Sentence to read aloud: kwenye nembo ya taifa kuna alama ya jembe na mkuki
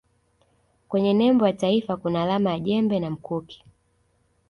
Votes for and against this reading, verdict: 2, 0, accepted